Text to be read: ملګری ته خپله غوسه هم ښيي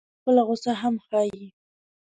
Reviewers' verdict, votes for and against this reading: accepted, 2, 1